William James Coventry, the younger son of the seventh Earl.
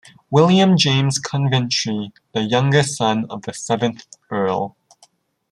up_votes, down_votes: 0, 2